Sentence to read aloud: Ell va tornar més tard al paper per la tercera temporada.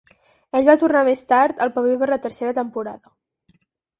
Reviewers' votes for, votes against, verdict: 0, 4, rejected